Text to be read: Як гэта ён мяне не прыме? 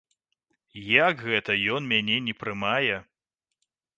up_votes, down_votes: 1, 2